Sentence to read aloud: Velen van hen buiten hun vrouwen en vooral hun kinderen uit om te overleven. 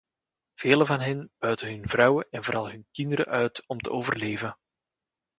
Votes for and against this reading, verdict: 2, 0, accepted